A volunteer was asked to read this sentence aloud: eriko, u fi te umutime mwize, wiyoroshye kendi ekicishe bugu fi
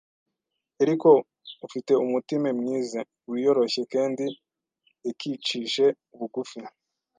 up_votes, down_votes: 1, 2